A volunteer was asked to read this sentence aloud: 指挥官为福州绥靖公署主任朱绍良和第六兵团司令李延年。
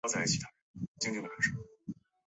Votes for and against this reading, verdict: 0, 3, rejected